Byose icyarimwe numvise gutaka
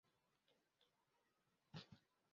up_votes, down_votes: 0, 2